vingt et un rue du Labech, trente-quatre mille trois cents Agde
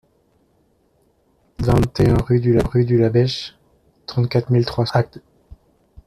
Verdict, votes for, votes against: rejected, 1, 2